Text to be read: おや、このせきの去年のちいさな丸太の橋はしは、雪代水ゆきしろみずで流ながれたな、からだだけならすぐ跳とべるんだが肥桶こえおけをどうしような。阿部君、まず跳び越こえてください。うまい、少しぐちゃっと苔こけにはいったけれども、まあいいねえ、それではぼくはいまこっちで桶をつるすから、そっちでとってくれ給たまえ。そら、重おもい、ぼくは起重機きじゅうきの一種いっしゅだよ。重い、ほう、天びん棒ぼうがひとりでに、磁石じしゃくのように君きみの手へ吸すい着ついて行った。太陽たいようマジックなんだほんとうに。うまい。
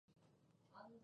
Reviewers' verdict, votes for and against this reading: rejected, 0, 2